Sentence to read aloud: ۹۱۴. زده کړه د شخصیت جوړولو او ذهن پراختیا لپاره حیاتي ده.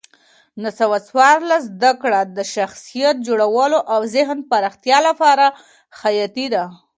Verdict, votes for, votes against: rejected, 0, 2